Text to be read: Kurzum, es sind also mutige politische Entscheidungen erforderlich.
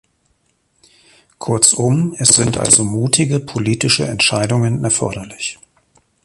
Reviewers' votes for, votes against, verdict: 2, 0, accepted